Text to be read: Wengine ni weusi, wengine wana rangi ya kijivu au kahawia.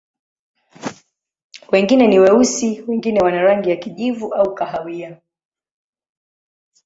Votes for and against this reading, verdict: 2, 0, accepted